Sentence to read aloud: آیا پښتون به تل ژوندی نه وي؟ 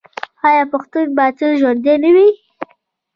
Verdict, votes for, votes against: rejected, 1, 2